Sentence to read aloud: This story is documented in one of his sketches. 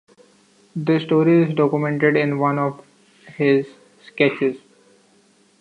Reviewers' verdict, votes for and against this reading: accepted, 2, 0